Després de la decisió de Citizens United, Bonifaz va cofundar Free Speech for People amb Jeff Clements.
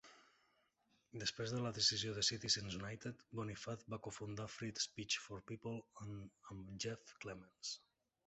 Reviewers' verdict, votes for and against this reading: rejected, 1, 2